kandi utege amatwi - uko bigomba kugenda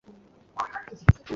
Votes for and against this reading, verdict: 1, 2, rejected